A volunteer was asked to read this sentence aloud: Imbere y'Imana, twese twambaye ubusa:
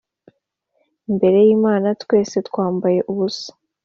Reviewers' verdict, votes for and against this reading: accepted, 2, 0